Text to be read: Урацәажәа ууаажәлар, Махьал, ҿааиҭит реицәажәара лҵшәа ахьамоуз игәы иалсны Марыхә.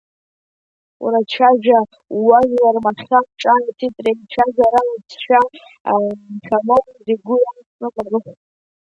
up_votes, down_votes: 0, 2